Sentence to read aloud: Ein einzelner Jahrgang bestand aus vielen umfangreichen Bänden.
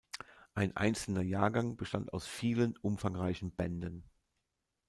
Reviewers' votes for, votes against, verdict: 2, 0, accepted